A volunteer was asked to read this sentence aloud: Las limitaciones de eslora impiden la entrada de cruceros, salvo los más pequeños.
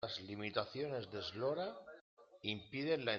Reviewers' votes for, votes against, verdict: 1, 2, rejected